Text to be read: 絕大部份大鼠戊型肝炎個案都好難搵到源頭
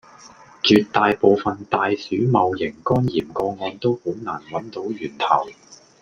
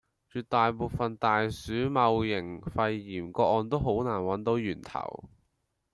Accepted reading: first